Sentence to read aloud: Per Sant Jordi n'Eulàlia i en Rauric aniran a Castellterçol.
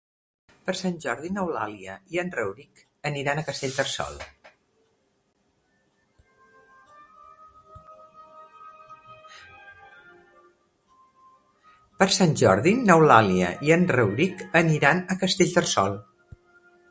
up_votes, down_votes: 0, 2